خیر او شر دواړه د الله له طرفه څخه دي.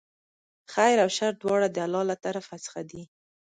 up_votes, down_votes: 2, 0